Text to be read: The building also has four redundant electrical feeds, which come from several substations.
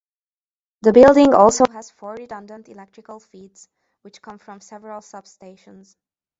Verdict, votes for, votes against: rejected, 0, 2